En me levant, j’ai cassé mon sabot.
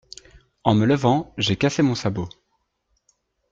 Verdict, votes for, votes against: accepted, 2, 0